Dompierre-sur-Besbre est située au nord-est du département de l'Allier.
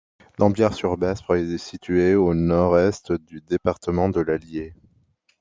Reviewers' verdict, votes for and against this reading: rejected, 1, 2